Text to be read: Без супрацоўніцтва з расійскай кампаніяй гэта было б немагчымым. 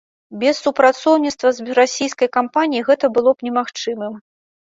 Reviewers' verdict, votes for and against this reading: rejected, 1, 2